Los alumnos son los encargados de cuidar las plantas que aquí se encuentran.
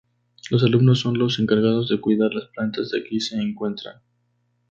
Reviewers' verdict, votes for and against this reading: accepted, 2, 0